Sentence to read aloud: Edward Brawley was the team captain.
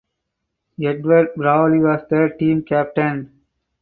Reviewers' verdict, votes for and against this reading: rejected, 0, 4